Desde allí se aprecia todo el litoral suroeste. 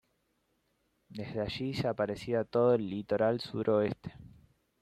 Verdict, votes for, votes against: accepted, 2, 1